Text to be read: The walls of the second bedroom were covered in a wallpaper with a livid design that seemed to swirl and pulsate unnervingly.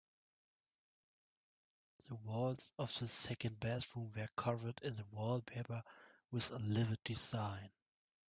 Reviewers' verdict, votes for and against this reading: rejected, 0, 2